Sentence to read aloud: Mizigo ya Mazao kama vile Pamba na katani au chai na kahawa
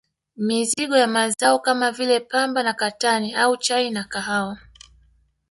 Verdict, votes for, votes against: rejected, 1, 2